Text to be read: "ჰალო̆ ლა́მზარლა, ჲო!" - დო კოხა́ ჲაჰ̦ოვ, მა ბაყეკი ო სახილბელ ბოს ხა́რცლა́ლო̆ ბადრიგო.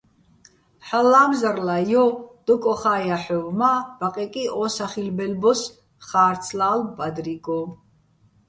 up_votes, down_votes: 2, 0